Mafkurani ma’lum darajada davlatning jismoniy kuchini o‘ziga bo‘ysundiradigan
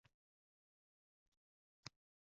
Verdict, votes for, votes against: rejected, 0, 2